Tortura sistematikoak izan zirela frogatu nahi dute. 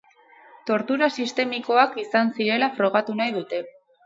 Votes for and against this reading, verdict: 0, 2, rejected